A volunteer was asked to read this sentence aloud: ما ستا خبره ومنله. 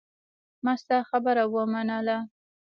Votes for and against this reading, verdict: 2, 0, accepted